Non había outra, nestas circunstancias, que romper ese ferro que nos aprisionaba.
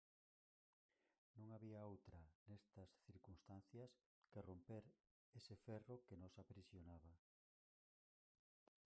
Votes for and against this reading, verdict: 0, 4, rejected